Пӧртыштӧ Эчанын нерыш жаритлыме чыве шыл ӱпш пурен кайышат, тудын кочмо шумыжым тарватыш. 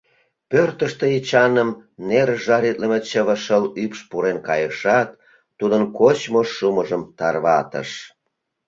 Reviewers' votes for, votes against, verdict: 1, 2, rejected